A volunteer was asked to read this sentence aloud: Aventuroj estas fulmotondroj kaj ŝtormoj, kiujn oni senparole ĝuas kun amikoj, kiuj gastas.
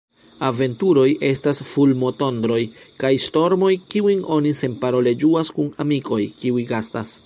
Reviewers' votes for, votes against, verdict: 1, 2, rejected